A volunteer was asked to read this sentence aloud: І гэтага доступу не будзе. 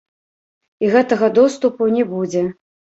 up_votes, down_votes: 0, 2